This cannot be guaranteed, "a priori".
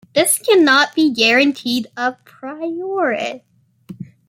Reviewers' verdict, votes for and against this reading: accepted, 2, 1